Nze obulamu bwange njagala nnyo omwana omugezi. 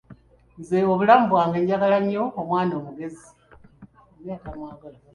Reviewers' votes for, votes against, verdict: 0, 2, rejected